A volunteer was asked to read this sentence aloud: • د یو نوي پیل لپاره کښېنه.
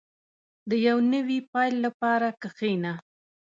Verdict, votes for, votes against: accepted, 2, 0